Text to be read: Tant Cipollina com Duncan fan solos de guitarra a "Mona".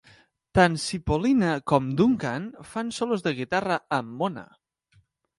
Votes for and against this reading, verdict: 0, 2, rejected